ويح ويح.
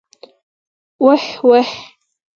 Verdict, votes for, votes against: accepted, 4, 0